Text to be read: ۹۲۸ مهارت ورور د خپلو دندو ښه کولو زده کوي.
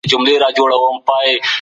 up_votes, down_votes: 0, 2